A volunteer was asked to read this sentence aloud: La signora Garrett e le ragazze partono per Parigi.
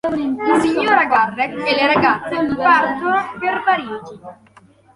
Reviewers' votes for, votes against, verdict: 2, 0, accepted